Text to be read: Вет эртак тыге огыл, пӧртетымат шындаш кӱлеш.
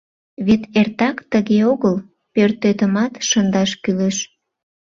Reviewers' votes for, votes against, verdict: 2, 0, accepted